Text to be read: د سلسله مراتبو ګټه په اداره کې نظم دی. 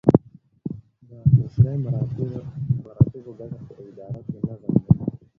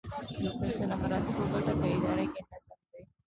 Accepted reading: first